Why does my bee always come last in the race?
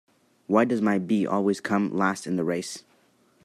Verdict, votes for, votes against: accepted, 3, 0